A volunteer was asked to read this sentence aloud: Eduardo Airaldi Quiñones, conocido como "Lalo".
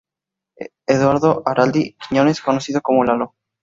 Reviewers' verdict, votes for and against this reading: rejected, 0, 2